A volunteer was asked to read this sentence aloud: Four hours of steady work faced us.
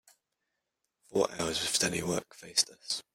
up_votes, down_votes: 0, 2